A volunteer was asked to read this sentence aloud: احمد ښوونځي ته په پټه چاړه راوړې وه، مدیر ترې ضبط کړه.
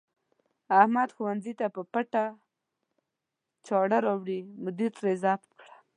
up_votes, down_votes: 1, 2